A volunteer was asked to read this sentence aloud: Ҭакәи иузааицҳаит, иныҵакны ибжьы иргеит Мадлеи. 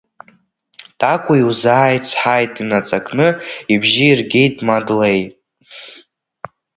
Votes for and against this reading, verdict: 0, 2, rejected